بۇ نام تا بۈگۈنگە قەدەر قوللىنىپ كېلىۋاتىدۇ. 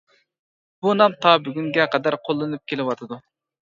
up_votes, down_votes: 2, 0